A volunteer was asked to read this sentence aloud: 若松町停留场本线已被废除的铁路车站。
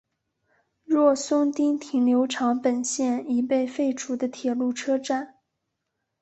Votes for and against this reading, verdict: 4, 0, accepted